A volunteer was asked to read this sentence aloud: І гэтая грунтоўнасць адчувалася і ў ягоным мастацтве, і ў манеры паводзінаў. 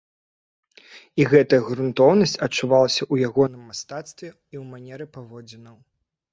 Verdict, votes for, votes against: rejected, 0, 2